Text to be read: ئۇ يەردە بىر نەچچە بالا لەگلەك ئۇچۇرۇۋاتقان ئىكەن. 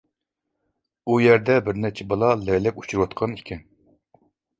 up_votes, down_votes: 2, 0